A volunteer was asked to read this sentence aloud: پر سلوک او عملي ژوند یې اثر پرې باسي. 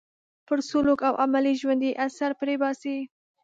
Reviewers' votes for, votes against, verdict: 2, 0, accepted